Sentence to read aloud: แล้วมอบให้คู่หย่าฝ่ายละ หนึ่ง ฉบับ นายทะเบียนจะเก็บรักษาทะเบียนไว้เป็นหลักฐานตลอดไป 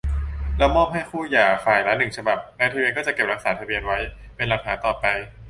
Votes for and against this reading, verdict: 0, 2, rejected